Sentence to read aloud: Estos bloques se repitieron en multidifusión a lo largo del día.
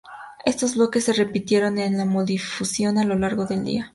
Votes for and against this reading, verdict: 0, 2, rejected